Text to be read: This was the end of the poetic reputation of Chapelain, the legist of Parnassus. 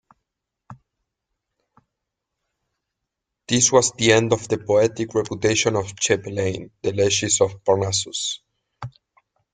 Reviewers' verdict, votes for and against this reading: accepted, 2, 0